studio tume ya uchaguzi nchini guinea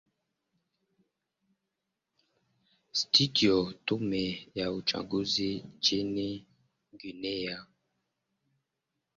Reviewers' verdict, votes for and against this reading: rejected, 0, 2